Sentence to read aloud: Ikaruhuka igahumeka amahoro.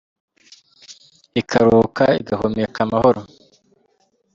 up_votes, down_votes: 2, 0